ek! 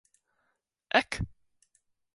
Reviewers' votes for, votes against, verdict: 2, 1, accepted